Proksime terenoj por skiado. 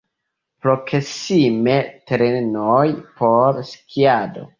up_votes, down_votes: 0, 2